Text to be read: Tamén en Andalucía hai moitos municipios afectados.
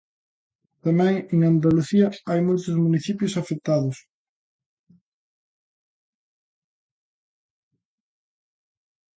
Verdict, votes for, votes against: accepted, 2, 0